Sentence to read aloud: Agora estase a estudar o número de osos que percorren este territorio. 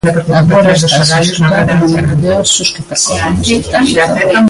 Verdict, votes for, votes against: rejected, 0, 2